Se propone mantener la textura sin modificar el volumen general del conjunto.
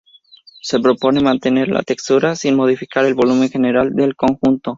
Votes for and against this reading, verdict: 2, 2, rejected